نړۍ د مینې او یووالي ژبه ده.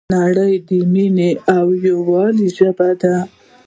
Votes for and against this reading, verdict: 2, 0, accepted